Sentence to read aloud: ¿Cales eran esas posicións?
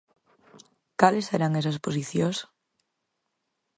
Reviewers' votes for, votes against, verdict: 4, 2, accepted